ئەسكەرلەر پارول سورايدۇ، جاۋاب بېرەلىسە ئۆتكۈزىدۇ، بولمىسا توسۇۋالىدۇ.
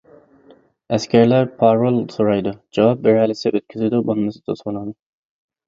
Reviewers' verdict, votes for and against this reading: rejected, 0, 2